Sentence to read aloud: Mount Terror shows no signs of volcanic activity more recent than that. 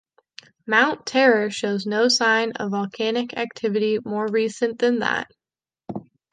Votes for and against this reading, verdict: 2, 3, rejected